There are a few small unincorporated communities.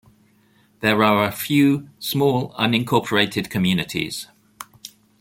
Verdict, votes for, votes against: accepted, 2, 0